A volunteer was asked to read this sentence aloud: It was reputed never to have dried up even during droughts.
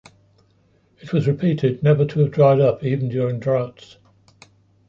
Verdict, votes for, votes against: rejected, 0, 2